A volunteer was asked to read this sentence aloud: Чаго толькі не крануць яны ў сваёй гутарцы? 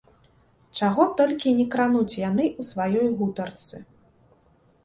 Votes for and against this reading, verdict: 2, 1, accepted